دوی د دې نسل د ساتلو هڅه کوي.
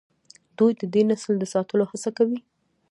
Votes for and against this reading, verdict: 2, 0, accepted